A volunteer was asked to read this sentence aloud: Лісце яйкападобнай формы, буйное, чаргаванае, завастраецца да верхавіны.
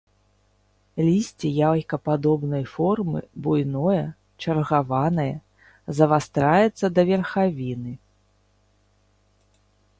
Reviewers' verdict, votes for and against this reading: accepted, 3, 0